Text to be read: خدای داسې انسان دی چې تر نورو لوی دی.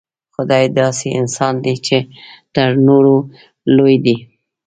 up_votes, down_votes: 1, 2